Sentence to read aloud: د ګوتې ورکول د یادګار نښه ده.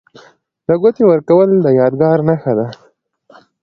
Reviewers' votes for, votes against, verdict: 2, 0, accepted